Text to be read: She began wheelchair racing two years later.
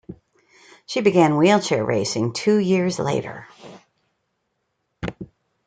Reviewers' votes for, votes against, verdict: 2, 0, accepted